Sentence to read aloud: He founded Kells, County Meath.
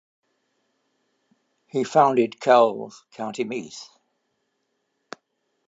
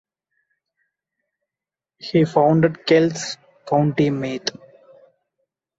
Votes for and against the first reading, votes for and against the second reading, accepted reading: 2, 0, 0, 2, first